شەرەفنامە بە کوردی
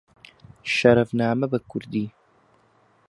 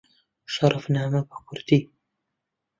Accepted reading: first